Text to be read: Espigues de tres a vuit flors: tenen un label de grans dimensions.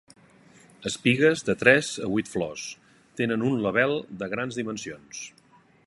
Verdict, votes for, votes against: accepted, 2, 0